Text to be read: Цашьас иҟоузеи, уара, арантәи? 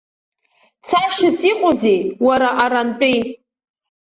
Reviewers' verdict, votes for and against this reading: rejected, 1, 2